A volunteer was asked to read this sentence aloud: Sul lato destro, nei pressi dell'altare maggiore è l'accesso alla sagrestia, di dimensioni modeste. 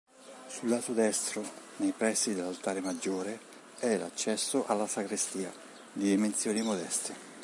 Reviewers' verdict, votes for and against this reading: rejected, 1, 2